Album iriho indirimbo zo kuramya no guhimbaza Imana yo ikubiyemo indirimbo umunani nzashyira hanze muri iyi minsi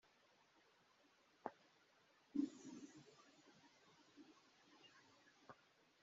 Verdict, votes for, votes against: rejected, 0, 2